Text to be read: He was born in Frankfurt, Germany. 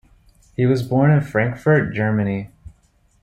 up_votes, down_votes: 2, 0